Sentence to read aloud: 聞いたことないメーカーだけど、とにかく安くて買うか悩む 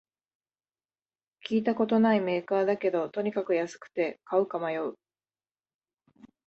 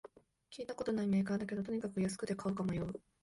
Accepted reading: second